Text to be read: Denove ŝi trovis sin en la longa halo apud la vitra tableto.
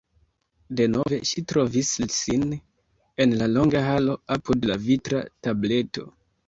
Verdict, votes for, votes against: rejected, 0, 2